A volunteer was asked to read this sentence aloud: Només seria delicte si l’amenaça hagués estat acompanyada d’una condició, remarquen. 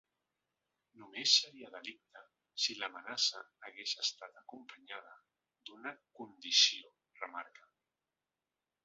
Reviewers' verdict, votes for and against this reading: rejected, 1, 2